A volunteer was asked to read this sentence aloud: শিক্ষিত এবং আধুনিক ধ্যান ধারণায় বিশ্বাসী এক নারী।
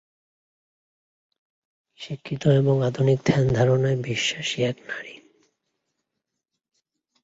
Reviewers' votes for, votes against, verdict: 2, 1, accepted